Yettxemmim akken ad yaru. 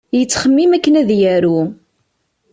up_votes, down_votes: 2, 0